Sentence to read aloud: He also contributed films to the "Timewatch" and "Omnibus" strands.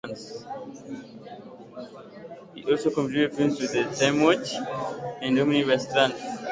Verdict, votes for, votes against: rejected, 1, 2